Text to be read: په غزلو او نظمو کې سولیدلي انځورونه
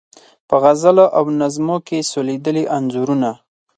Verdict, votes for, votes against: accepted, 4, 0